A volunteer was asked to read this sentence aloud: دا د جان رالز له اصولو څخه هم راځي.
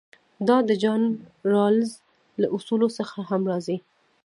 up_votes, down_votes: 0, 2